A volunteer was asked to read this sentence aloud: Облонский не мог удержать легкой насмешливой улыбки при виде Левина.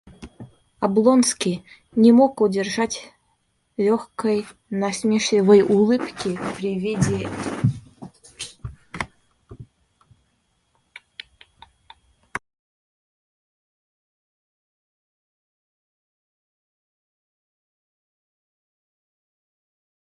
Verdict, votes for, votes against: rejected, 0, 2